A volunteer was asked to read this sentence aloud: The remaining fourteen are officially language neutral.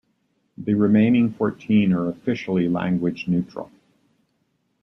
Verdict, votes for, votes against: accepted, 2, 1